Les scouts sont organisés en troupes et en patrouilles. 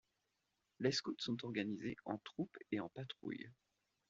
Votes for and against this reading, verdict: 2, 0, accepted